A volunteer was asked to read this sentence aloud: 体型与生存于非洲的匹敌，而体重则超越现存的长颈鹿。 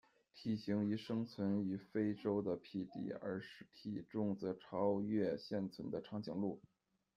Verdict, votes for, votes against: accepted, 2, 1